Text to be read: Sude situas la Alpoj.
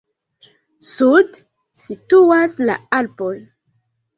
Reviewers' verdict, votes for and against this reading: rejected, 1, 3